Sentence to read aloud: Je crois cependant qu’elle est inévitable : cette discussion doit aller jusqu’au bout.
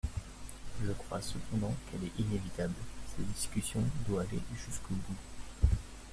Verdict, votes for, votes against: rejected, 0, 2